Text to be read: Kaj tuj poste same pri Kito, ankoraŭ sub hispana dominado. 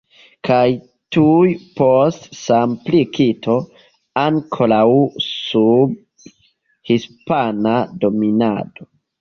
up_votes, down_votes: 1, 2